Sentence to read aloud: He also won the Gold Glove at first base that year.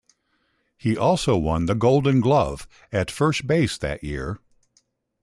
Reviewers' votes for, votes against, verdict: 0, 2, rejected